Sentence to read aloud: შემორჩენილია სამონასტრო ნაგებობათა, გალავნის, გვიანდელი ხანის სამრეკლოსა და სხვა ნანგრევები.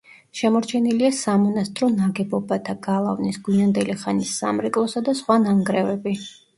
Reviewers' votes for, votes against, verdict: 2, 0, accepted